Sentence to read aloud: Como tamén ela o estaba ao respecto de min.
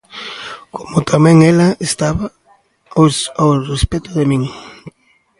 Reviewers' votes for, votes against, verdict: 0, 2, rejected